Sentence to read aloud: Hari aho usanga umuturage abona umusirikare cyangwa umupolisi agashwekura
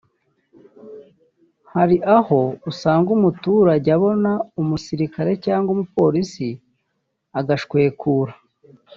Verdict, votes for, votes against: accepted, 2, 0